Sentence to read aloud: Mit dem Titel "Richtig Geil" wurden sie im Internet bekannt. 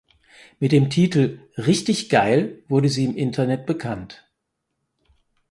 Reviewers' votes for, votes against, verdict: 2, 4, rejected